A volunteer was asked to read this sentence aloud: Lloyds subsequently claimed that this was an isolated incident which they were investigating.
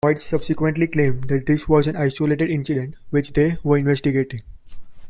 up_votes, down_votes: 0, 2